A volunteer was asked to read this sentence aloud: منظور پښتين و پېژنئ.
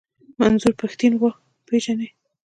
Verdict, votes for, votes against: accepted, 2, 0